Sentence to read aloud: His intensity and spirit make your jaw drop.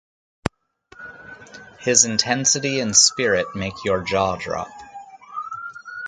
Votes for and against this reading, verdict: 6, 0, accepted